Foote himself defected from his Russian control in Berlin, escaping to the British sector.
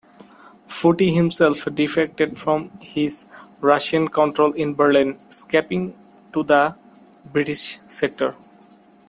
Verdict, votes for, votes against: accepted, 2, 0